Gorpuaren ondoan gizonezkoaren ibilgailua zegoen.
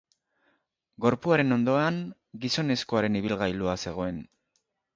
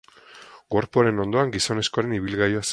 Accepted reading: first